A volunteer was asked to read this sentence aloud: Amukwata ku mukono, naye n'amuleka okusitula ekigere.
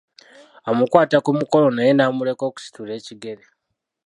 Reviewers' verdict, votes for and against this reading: rejected, 0, 2